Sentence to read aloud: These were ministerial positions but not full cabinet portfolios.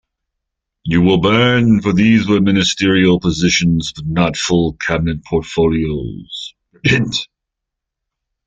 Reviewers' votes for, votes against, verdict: 0, 2, rejected